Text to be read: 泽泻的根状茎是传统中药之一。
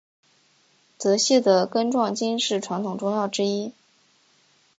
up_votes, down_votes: 3, 0